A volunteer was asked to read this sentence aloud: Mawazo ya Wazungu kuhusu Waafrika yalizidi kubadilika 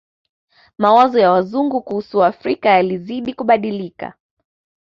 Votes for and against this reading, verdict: 2, 0, accepted